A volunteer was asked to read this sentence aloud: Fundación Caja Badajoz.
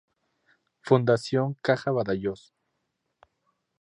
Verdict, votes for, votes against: rejected, 0, 4